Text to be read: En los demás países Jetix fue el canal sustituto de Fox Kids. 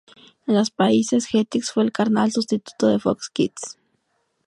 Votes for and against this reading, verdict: 0, 2, rejected